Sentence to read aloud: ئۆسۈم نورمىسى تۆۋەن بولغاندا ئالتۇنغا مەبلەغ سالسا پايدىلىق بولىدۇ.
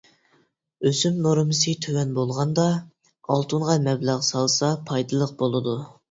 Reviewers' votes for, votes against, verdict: 2, 0, accepted